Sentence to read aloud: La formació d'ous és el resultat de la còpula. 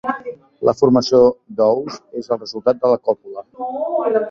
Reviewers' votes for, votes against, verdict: 1, 2, rejected